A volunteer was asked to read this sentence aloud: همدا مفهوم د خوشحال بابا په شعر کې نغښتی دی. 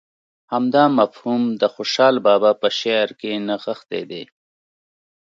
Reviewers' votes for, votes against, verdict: 2, 0, accepted